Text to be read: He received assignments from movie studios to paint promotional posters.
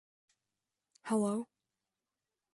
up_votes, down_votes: 0, 2